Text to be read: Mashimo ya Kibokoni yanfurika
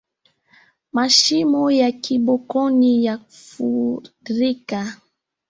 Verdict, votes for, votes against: rejected, 1, 2